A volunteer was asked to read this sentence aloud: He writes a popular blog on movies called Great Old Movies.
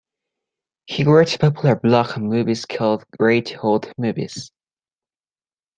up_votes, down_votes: 2, 0